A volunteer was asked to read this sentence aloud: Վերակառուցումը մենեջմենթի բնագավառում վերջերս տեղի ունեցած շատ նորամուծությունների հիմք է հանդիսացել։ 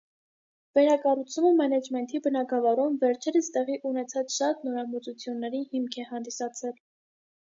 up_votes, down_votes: 2, 0